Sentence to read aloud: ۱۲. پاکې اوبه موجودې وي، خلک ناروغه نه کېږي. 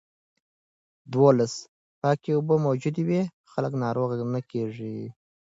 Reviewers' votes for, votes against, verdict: 0, 2, rejected